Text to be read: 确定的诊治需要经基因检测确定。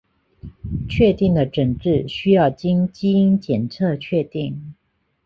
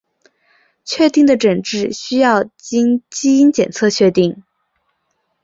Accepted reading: first